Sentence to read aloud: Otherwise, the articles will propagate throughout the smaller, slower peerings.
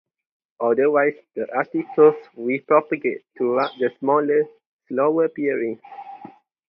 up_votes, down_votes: 2, 2